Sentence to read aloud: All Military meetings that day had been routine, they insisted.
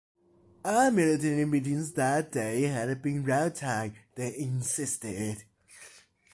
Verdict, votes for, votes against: rejected, 1, 2